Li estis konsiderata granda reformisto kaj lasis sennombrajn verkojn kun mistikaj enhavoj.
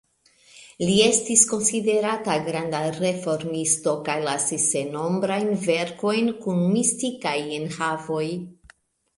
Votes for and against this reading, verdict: 2, 1, accepted